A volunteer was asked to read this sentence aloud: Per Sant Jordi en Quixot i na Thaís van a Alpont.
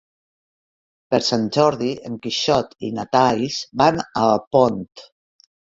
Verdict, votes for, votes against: rejected, 2, 3